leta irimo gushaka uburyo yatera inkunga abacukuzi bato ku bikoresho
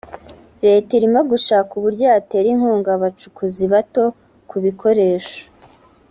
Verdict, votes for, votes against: accepted, 3, 0